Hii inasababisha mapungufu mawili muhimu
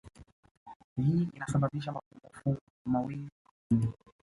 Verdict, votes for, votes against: rejected, 0, 2